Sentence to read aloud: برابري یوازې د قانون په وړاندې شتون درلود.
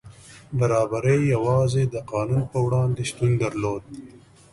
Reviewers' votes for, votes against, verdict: 2, 0, accepted